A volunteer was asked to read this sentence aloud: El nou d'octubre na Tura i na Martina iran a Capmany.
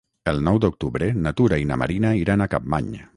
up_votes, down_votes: 3, 3